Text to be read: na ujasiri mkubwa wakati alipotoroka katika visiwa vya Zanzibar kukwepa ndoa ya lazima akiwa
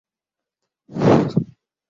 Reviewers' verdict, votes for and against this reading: rejected, 3, 13